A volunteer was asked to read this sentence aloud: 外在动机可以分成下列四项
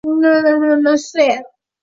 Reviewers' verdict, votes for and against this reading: rejected, 0, 2